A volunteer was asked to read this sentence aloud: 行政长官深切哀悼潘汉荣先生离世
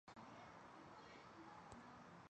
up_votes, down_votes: 1, 2